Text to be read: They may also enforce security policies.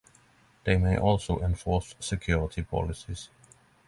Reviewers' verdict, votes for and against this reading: accepted, 6, 0